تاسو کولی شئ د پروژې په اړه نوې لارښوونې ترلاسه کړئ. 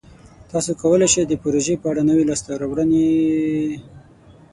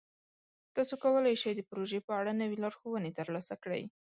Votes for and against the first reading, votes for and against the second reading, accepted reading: 0, 12, 2, 0, second